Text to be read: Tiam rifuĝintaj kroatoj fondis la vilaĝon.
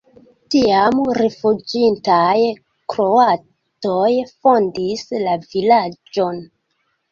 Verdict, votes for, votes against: accepted, 2, 0